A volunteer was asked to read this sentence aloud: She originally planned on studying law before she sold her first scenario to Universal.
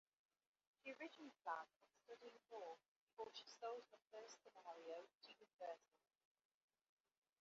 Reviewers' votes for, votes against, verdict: 0, 2, rejected